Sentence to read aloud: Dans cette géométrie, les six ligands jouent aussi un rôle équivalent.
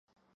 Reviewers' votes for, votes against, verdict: 0, 2, rejected